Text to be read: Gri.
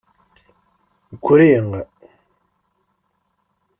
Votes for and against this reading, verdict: 1, 2, rejected